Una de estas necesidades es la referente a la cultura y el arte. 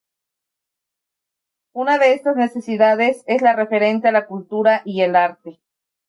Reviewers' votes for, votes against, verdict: 2, 0, accepted